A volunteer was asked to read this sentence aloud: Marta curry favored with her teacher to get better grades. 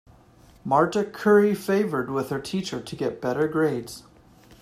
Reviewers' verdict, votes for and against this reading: accepted, 2, 0